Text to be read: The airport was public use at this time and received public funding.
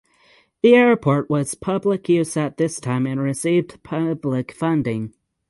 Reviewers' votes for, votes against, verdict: 6, 0, accepted